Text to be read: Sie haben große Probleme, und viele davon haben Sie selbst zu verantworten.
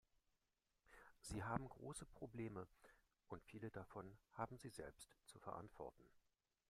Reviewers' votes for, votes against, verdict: 1, 2, rejected